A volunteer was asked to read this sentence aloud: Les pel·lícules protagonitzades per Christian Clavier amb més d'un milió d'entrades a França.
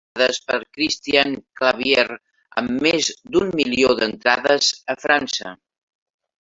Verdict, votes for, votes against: rejected, 0, 2